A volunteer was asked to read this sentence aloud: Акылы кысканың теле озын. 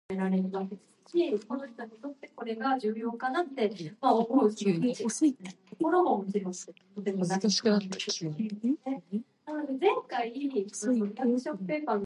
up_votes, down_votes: 0, 2